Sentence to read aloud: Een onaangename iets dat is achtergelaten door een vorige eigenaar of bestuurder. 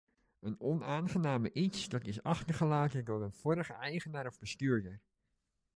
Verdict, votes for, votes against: accepted, 2, 0